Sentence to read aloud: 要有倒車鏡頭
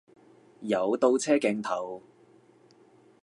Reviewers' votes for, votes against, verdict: 0, 2, rejected